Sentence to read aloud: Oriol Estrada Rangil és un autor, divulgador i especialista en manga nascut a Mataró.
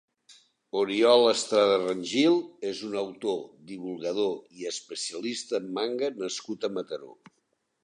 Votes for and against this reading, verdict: 3, 0, accepted